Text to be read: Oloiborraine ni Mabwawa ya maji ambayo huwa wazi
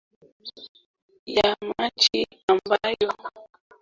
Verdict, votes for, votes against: rejected, 0, 2